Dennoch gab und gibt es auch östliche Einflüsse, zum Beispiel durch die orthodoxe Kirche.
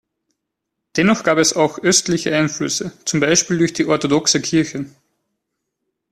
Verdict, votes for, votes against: rejected, 0, 4